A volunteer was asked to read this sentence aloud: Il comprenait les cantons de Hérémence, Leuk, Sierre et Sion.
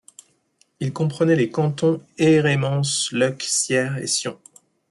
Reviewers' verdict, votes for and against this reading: rejected, 1, 2